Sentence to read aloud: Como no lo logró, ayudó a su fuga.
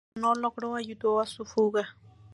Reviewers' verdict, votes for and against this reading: rejected, 0, 2